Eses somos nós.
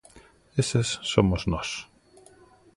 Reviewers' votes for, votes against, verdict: 2, 1, accepted